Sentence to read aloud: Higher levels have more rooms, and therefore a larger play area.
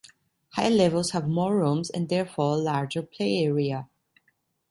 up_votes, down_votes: 1, 2